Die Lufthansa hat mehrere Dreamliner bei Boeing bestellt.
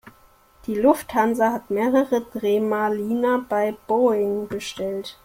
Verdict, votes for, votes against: rejected, 0, 2